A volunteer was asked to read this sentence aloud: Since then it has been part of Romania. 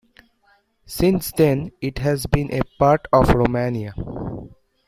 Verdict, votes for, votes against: rejected, 0, 2